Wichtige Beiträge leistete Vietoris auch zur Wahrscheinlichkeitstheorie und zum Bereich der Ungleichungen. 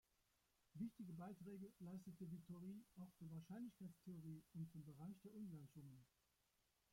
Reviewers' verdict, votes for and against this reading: rejected, 0, 2